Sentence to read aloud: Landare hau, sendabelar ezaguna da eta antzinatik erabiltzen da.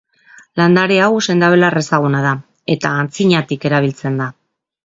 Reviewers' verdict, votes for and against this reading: accepted, 2, 0